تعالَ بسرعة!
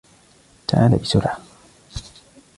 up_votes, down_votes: 2, 1